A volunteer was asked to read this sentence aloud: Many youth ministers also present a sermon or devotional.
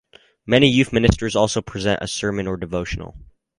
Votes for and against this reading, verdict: 2, 0, accepted